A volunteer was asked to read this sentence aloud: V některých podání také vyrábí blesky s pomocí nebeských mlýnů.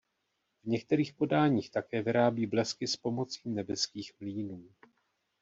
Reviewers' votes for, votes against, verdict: 1, 2, rejected